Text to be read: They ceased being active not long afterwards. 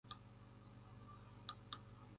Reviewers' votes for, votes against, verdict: 1, 2, rejected